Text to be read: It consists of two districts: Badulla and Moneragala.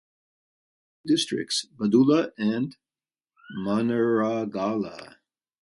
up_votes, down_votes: 1, 2